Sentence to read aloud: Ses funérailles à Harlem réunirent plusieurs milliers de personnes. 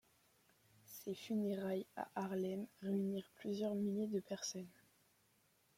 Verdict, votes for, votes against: accepted, 2, 0